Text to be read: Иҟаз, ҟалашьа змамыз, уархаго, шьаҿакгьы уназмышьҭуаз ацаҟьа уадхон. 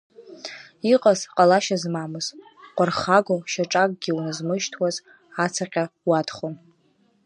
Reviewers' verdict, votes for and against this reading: accepted, 2, 1